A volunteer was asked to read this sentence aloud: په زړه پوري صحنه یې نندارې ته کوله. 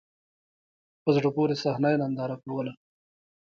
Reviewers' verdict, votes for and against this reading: rejected, 1, 2